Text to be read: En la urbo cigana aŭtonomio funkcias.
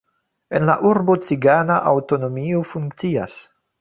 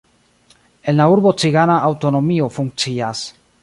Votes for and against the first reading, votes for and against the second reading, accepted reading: 2, 0, 0, 2, first